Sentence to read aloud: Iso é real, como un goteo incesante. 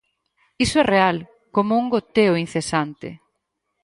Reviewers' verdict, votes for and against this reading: accepted, 4, 0